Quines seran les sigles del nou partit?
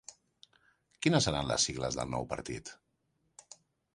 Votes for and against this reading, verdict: 2, 0, accepted